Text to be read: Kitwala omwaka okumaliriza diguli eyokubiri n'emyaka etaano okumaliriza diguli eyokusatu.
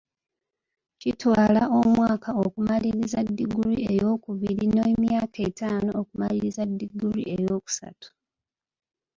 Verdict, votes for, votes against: rejected, 0, 2